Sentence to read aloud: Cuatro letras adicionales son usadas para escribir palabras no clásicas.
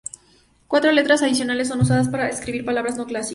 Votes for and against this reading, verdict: 2, 0, accepted